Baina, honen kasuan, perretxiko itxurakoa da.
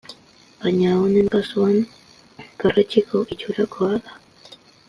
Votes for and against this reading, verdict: 2, 0, accepted